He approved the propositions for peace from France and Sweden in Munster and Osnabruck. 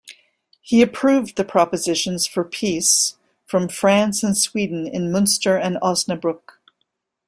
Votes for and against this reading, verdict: 2, 0, accepted